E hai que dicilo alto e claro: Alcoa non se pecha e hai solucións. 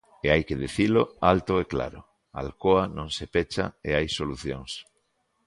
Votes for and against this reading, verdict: 2, 0, accepted